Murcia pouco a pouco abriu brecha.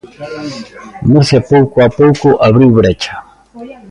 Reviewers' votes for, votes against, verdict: 2, 0, accepted